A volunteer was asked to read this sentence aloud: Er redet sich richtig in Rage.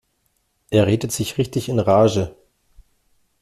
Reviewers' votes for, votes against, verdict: 2, 0, accepted